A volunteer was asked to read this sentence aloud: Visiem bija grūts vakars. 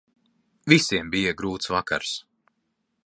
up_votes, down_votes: 3, 0